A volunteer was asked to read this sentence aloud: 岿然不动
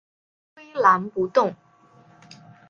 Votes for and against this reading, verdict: 0, 2, rejected